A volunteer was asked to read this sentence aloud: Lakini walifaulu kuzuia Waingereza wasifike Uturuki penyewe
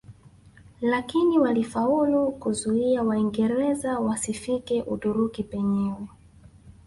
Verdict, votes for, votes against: rejected, 1, 2